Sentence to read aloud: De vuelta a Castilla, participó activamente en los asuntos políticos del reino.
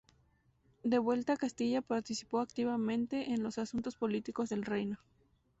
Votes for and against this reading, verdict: 2, 0, accepted